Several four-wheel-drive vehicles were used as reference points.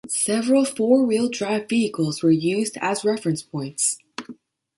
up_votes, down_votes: 2, 0